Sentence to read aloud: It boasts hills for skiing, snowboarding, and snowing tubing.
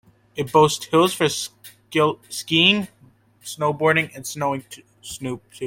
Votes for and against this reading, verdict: 0, 2, rejected